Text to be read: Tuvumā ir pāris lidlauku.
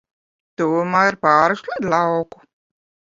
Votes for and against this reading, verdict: 1, 2, rejected